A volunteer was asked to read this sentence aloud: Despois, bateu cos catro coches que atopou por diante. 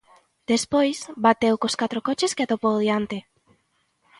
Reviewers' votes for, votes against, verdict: 0, 2, rejected